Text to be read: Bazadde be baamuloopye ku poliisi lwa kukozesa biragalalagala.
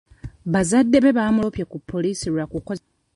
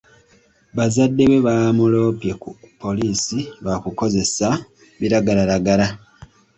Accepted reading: second